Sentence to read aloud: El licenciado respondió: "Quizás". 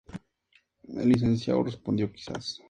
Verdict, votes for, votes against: accepted, 2, 0